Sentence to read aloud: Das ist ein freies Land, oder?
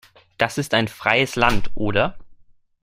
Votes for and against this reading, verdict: 2, 0, accepted